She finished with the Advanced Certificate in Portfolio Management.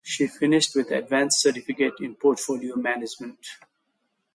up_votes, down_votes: 2, 0